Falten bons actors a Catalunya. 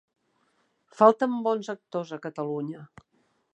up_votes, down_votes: 3, 1